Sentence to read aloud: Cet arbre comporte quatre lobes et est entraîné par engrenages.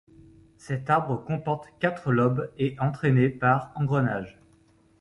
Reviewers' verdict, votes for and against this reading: rejected, 1, 2